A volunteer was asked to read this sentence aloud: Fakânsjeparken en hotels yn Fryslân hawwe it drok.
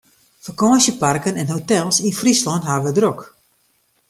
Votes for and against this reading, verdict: 2, 0, accepted